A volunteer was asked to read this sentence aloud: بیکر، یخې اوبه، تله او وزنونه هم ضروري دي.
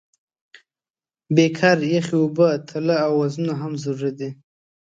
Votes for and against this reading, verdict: 3, 0, accepted